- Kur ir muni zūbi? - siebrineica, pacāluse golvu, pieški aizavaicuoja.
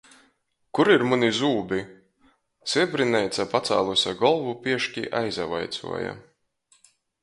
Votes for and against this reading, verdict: 2, 0, accepted